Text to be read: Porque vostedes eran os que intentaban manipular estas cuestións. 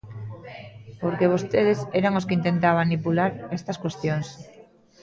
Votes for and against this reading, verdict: 0, 2, rejected